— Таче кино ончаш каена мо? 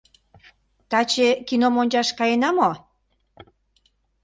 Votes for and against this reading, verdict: 1, 2, rejected